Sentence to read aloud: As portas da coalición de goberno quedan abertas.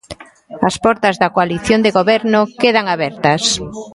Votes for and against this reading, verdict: 2, 1, accepted